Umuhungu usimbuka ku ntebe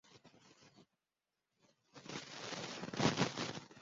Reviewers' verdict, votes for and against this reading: rejected, 0, 2